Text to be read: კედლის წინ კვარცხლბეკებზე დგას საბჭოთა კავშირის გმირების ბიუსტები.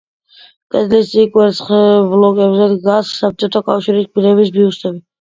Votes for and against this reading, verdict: 0, 2, rejected